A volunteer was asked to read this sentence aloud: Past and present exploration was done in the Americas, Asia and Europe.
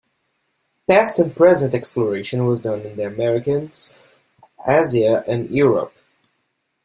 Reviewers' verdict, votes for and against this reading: rejected, 0, 2